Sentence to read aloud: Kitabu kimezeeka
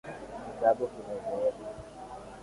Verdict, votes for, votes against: rejected, 0, 2